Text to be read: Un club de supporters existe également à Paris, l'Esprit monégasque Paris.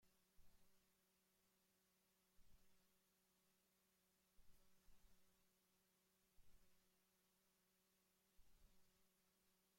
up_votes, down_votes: 0, 2